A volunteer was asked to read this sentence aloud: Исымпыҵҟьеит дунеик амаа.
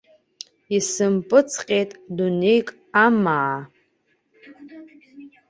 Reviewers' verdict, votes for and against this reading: accepted, 2, 0